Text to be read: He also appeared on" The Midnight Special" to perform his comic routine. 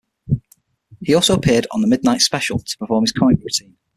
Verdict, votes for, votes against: accepted, 6, 3